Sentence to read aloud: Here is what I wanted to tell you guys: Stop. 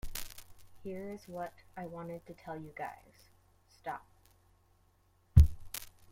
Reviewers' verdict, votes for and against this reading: rejected, 0, 2